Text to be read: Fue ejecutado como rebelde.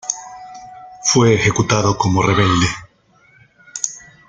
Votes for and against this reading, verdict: 0, 2, rejected